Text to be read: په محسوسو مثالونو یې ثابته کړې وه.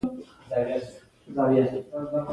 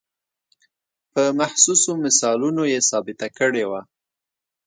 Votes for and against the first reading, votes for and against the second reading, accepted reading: 1, 2, 2, 0, second